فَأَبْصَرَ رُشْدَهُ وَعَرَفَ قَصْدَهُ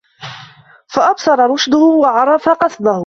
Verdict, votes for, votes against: rejected, 1, 2